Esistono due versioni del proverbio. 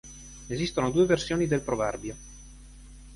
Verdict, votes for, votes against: accepted, 2, 0